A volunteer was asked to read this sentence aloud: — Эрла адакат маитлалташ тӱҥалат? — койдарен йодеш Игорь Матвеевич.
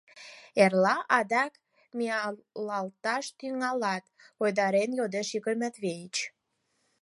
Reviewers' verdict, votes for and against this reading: rejected, 2, 4